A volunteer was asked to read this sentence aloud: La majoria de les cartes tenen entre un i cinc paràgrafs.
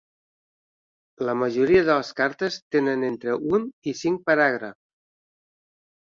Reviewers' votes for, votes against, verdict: 1, 2, rejected